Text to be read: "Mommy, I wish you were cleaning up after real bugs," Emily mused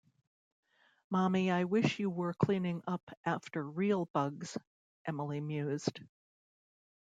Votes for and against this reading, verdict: 2, 0, accepted